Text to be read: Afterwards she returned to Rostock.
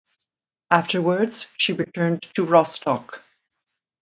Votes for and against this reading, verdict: 2, 0, accepted